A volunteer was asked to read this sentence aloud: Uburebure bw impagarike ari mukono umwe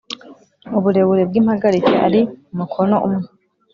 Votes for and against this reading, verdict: 2, 0, accepted